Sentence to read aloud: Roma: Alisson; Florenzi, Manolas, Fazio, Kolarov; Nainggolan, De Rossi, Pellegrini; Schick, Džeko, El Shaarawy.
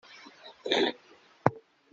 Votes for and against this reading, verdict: 0, 2, rejected